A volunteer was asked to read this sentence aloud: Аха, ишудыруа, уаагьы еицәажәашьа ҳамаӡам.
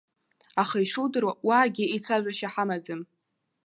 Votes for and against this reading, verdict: 2, 0, accepted